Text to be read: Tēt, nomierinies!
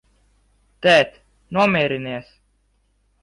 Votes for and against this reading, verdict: 1, 2, rejected